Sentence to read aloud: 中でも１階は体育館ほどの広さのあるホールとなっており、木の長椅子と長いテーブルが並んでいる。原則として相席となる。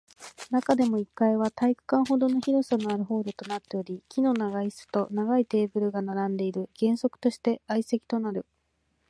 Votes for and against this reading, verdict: 0, 2, rejected